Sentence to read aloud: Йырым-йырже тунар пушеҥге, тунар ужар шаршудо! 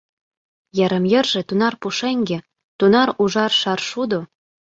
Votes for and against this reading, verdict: 2, 0, accepted